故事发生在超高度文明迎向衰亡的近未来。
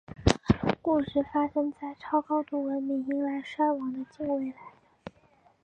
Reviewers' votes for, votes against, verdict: 1, 3, rejected